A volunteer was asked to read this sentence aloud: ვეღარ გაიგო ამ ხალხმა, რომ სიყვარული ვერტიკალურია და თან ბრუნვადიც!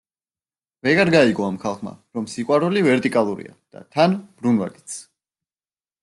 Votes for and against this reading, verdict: 0, 2, rejected